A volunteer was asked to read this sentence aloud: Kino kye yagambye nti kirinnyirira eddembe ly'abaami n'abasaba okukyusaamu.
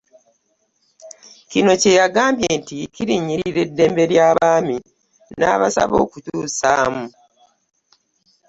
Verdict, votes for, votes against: accepted, 2, 0